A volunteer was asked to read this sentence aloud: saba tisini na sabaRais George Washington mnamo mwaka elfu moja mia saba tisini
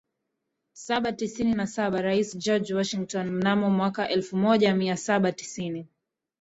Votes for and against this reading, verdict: 0, 2, rejected